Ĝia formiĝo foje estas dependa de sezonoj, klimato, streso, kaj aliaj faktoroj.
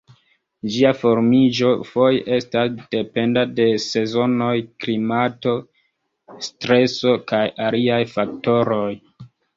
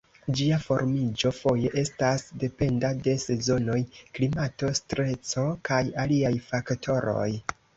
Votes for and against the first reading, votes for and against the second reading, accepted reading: 1, 2, 2, 0, second